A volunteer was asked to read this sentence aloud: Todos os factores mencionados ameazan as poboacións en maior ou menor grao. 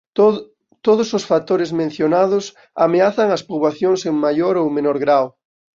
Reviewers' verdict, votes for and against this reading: rejected, 1, 3